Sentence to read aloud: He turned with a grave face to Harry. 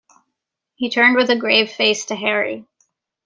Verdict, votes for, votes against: accepted, 2, 0